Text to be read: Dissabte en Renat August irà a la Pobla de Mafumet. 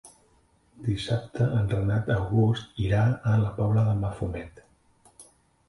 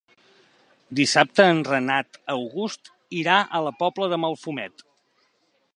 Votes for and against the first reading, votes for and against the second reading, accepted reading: 2, 0, 0, 3, first